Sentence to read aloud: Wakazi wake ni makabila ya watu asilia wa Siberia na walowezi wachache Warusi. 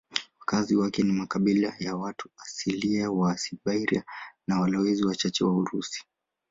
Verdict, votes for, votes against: accepted, 2, 0